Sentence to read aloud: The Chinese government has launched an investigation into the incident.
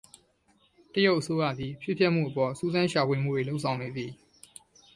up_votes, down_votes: 0, 2